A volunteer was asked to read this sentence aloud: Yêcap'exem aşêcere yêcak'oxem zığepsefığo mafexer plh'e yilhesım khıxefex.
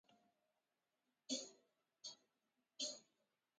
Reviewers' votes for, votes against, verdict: 0, 2, rejected